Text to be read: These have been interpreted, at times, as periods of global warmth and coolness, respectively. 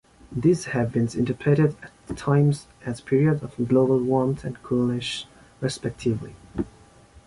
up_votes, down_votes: 2, 1